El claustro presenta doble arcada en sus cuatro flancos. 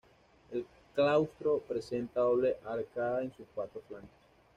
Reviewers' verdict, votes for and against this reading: accepted, 2, 0